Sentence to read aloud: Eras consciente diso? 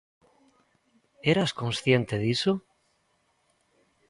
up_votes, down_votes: 2, 0